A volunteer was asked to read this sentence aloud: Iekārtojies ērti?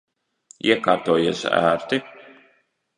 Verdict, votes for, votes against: accepted, 2, 0